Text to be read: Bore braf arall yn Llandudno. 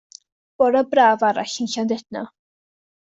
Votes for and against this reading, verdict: 2, 0, accepted